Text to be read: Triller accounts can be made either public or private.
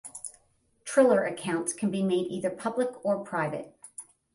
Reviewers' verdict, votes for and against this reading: accepted, 10, 0